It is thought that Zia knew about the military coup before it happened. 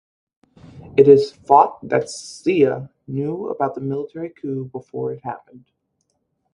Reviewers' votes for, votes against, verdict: 4, 0, accepted